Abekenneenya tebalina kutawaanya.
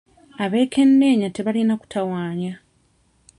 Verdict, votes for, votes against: rejected, 0, 2